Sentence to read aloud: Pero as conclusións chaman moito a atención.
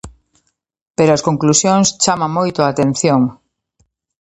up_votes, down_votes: 2, 0